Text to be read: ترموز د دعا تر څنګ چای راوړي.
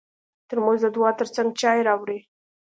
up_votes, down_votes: 2, 0